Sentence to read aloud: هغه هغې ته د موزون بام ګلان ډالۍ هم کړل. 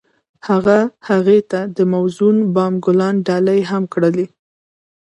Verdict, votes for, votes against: rejected, 1, 2